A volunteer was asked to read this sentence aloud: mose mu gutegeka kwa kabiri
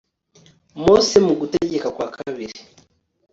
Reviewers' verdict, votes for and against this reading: accepted, 2, 0